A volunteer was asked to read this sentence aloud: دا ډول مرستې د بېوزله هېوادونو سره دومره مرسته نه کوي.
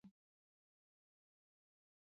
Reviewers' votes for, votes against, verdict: 0, 2, rejected